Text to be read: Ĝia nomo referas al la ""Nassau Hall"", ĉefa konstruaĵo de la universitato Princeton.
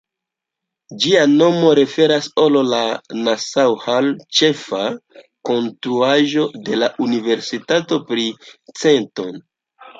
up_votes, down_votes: 0, 2